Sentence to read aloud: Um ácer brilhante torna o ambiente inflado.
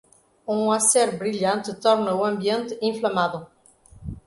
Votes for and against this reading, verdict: 0, 3, rejected